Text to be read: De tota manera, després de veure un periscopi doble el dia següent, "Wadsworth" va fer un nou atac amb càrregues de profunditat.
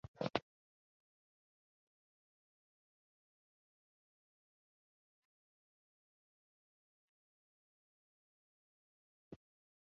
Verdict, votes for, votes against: rejected, 0, 2